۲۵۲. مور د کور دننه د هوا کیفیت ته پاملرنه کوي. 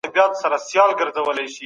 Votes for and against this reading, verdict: 0, 2, rejected